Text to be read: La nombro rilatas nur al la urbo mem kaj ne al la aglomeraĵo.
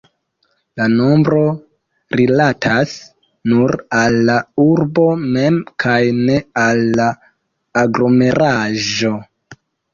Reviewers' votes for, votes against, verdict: 2, 1, accepted